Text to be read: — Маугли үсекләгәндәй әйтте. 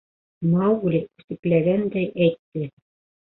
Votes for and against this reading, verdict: 2, 3, rejected